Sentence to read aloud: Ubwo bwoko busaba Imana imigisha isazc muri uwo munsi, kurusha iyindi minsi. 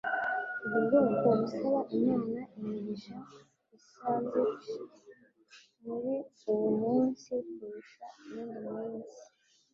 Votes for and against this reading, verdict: 0, 2, rejected